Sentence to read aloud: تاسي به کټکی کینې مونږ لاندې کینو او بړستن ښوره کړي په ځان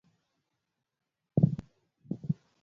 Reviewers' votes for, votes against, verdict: 1, 2, rejected